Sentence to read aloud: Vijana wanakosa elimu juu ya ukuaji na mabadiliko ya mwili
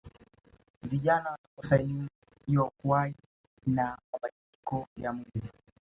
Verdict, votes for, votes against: rejected, 1, 2